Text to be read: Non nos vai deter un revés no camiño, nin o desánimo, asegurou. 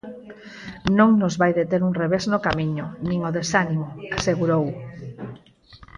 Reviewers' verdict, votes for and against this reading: accepted, 4, 0